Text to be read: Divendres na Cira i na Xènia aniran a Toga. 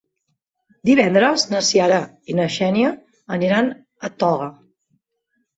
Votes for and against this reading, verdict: 1, 3, rejected